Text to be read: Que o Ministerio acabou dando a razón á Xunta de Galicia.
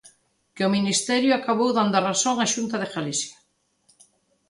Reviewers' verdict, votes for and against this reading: accepted, 2, 0